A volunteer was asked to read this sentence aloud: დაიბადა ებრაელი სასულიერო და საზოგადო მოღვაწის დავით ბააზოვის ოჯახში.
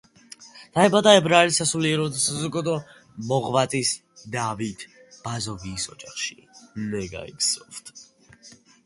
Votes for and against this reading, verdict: 0, 2, rejected